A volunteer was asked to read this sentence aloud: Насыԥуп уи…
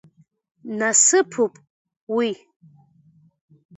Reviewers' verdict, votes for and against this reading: accepted, 2, 1